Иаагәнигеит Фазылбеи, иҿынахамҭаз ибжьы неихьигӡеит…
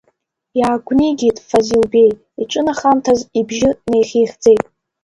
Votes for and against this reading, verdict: 1, 2, rejected